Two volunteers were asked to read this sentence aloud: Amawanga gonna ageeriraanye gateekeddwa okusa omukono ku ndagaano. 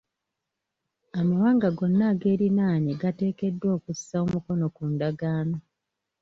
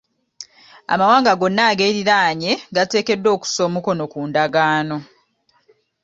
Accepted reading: second